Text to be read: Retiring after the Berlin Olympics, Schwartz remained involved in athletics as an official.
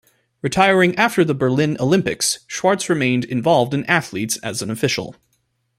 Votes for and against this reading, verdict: 0, 2, rejected